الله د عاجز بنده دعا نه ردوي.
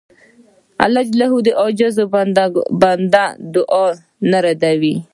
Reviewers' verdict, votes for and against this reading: accepted, 2, 0